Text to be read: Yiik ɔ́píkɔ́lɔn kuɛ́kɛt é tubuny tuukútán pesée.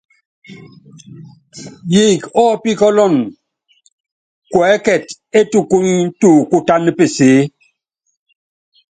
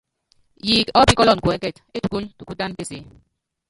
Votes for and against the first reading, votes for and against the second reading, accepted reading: 2, 0, 0, 2, first